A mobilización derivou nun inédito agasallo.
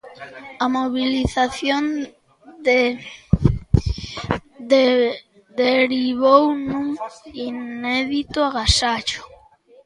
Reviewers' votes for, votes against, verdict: 0, 2, rejected